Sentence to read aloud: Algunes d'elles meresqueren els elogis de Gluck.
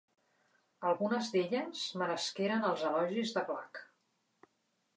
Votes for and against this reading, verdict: 2, 0, accepted